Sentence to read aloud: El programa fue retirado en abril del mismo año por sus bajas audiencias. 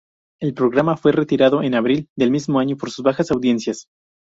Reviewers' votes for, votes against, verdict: 2, 2, rejected